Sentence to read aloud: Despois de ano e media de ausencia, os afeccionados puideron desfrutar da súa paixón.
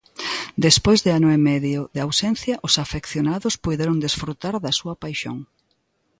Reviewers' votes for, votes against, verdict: 2, 0, accepted